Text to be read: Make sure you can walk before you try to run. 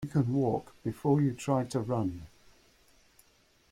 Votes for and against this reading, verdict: 0, 2, rejected